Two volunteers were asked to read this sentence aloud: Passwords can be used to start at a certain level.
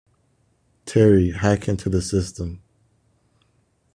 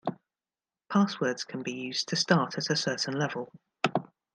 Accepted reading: second